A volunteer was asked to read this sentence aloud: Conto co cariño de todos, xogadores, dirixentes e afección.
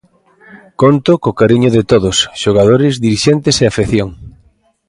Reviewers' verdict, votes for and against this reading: accepted, 2, 0